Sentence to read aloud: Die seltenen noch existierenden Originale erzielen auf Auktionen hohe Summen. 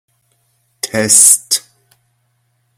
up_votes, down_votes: 0, 2